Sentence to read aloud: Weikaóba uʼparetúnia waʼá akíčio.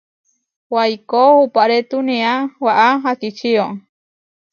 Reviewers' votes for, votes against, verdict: 0, 2, rejected